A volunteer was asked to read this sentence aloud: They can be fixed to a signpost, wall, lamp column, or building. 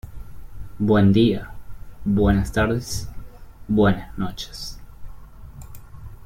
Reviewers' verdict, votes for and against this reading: rejected, 0, 2